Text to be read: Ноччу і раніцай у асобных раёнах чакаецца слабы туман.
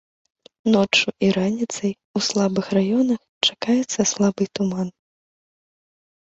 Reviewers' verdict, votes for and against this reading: rejected, 0, 2